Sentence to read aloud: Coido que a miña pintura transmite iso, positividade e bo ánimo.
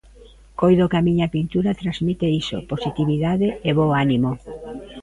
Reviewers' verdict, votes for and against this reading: rejected, 1, 2